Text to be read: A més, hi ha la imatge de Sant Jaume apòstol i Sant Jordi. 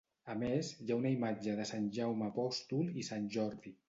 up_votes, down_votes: 1, 2